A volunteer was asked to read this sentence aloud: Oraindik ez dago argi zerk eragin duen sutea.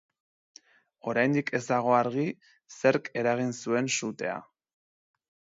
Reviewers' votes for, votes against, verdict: 1, 2, rejected